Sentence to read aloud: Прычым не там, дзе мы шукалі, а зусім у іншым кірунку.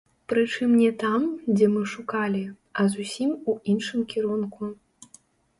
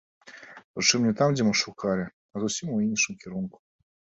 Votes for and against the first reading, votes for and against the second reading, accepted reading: 1, 2, 2, 0, second